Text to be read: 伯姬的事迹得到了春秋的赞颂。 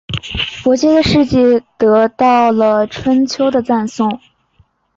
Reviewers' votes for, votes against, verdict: 2, 0, accepted